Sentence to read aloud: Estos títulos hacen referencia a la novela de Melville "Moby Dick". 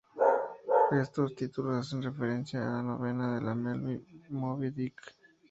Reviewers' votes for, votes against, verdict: 0, 4, rejected